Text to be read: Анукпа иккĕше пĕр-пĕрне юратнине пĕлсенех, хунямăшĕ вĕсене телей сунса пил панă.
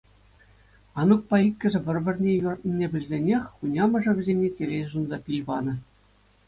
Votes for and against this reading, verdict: 2, 0, accepted